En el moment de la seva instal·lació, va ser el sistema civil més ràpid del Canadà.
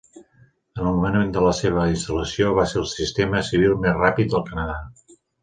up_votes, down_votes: 2, 0